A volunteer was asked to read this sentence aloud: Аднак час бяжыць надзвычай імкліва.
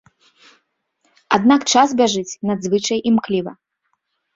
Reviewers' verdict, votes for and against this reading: accepted, 2, 0